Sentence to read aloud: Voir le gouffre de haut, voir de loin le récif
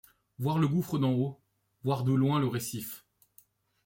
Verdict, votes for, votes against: rejected, 1, 2